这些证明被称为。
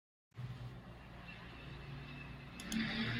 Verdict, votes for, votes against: rejected, 0, 2